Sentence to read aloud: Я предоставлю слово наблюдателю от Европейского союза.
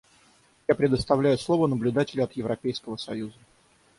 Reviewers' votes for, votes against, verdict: 0, 3, rejected